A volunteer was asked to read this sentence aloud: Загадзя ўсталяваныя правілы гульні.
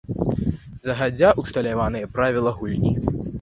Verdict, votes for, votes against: rejected, 1, 2